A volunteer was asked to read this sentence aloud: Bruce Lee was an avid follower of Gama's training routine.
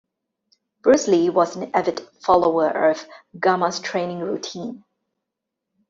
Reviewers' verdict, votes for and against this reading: accepted, 2, 0